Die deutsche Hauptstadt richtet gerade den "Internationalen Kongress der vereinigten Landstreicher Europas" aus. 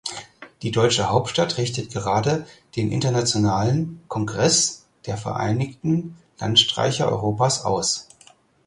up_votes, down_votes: 4, 0